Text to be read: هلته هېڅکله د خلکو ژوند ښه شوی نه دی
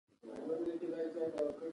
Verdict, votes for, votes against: accepted, 2, 1